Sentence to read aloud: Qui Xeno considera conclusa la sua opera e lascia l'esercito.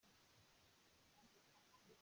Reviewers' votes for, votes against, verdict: 0, 2, rejected